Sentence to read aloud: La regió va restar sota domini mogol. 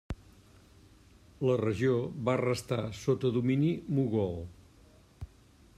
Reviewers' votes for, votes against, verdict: 2, 0, accepted